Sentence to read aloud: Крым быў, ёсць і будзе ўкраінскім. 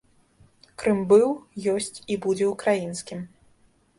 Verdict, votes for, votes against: accepted, 2, 0